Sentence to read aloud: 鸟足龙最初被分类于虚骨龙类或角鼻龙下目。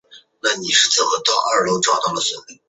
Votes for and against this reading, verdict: 0, 2, rejected